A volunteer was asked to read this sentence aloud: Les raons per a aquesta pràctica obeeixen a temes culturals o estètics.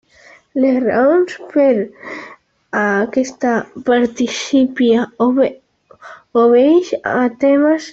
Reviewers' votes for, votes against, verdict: 0, 2, rejected